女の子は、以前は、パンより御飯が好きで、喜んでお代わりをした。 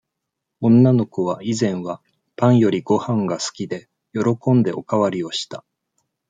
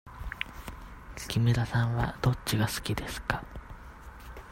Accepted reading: first